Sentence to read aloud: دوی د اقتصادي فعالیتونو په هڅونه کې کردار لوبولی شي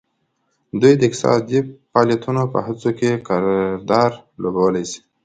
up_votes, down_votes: 2, 0